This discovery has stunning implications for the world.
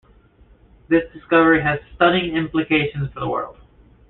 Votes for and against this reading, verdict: 2, 0, accepted